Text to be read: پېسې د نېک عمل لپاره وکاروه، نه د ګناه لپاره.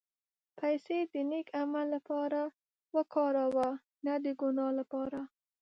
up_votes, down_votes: 1, 2